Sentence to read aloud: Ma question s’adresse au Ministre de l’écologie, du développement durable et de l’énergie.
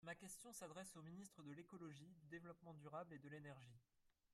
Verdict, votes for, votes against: rejected, 0, 2